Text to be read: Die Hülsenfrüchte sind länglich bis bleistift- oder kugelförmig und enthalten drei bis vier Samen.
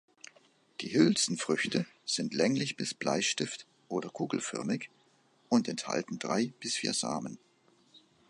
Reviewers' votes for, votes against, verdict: 2, 0, accepted